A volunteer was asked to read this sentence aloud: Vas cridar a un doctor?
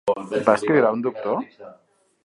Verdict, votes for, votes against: rejected, 1, 2